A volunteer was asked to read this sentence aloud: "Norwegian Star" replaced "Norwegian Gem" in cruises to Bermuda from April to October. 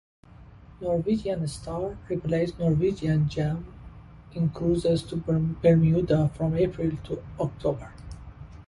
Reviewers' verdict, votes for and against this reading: accepted, 2, 0